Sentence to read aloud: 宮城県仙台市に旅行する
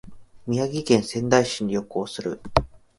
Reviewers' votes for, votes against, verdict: 2, 0, accepted